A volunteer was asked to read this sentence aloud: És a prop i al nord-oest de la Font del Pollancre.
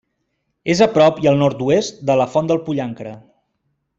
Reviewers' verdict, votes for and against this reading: accepted, 2, 0